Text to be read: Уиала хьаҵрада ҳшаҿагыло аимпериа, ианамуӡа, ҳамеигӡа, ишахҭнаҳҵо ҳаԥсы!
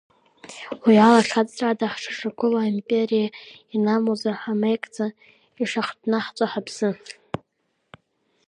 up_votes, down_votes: 1, 2